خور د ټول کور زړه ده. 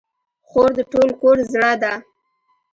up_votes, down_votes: 2, 0